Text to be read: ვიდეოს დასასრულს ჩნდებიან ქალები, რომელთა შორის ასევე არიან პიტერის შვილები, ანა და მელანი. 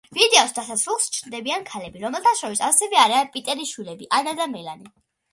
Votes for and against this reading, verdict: 2, 0, accepted